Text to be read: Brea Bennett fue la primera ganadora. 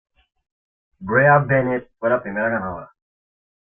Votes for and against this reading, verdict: 2, 0, accepted